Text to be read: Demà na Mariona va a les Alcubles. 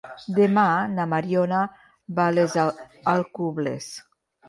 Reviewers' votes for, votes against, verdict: 1, 2, rejected